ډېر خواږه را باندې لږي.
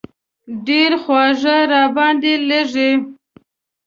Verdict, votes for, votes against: accepted, 2, 1